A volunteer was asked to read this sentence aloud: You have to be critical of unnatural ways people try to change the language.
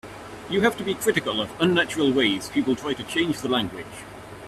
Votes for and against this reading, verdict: 2, 0, accepted